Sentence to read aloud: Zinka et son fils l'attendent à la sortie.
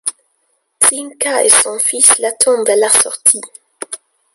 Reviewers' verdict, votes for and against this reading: rejected, 0, 2